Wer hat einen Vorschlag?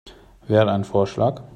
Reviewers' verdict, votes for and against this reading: rejected, 1, 2